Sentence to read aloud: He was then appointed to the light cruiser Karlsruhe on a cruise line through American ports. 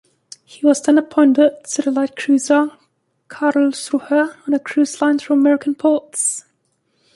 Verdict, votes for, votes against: accepted, 2, 0